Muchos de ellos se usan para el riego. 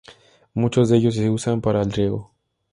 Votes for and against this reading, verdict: 2, 0, accepted